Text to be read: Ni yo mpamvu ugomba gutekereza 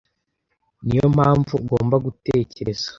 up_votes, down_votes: 2, 0